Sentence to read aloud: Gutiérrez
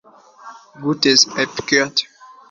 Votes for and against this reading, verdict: 0, 2, rejected